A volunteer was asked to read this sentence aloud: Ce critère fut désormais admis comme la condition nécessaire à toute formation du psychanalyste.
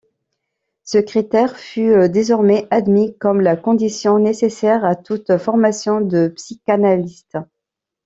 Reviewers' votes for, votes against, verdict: 0, 2, rejected